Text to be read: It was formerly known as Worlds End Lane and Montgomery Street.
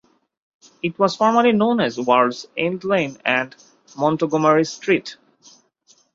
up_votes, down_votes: 2, 0